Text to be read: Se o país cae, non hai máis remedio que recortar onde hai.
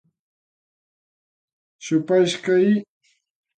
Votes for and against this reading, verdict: 0, 2, rejected